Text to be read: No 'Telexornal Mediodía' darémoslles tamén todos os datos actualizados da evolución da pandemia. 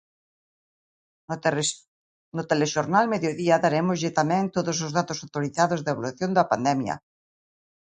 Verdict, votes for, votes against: rejected, 0, 2